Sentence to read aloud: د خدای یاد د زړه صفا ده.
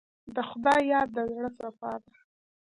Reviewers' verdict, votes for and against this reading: accepted, 2, 1